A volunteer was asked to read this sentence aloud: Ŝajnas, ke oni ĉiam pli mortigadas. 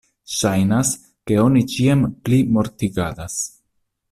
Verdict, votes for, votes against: accepted, 2, 0